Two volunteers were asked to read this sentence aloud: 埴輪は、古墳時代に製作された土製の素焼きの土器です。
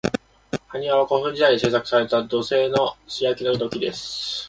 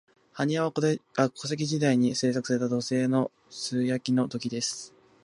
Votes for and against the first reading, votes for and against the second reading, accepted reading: 2, 0, 0, 2, first